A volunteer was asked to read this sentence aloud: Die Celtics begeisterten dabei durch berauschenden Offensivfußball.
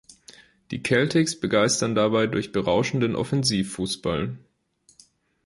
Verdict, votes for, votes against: rejected, 0, 2